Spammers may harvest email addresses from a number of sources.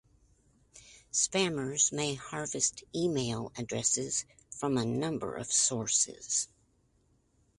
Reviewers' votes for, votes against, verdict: 2, 0, accepted